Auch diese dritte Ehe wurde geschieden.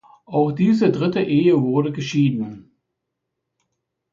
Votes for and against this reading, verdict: 2, 0, accepted